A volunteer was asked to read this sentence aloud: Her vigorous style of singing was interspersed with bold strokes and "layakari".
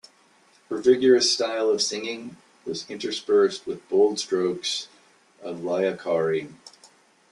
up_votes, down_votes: 1, 2